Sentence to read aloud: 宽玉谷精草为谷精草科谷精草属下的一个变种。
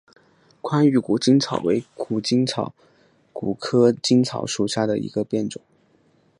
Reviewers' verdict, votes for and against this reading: accepted, 2, 1